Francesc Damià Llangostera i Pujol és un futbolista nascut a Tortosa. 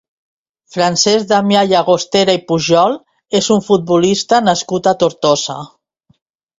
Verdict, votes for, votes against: rejected, 0, 2